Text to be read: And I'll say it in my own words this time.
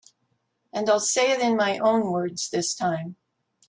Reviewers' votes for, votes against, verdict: 2, 0, accepted